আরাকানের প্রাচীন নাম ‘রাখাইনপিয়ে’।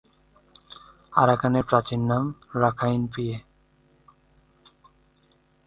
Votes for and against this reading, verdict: 2, 0, accepted